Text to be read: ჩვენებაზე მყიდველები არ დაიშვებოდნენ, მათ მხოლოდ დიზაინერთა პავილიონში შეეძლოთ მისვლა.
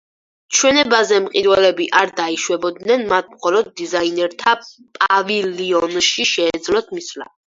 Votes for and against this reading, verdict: 2, 4, rejected